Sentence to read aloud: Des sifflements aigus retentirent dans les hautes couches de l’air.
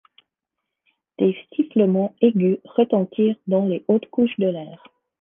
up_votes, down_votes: 2, 0